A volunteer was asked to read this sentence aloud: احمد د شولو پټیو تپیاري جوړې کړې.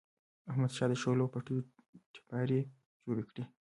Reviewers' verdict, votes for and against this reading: accepted, 2, 1